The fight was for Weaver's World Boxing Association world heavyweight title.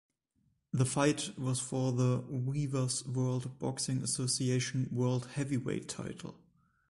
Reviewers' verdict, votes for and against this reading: rejected, 1, 4